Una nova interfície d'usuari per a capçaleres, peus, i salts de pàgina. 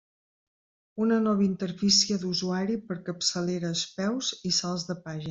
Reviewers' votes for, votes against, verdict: 1, 2, rejected